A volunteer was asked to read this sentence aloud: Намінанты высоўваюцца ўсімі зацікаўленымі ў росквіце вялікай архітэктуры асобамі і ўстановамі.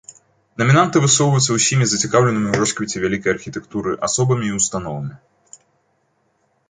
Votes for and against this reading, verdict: 2, 0, accepted